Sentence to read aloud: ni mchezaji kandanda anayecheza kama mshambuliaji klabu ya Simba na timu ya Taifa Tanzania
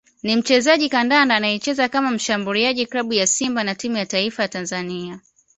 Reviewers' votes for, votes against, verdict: 2, 0, accepted